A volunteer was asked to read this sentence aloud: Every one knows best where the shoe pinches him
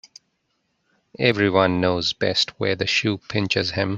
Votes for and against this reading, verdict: 3, 0, accepted